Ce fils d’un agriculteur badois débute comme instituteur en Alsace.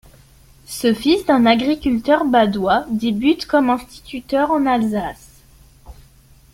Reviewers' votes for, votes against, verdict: 2, 0, accepted